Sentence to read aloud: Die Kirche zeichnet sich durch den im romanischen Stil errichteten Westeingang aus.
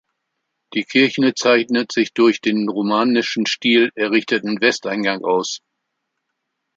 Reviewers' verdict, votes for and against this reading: rejected, 0, 2